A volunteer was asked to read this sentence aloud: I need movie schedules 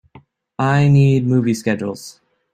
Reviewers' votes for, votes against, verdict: 2, 0, accepted